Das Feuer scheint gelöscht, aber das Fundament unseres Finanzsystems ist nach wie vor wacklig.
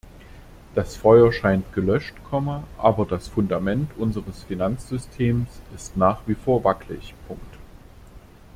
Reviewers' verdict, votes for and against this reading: rejected, 0, 2